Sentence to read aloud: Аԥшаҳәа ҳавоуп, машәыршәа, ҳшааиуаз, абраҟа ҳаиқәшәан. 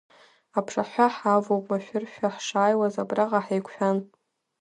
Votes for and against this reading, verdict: 4, 2, accepted